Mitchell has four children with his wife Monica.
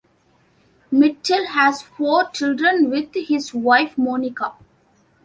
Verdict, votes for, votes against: accepted, 2, 0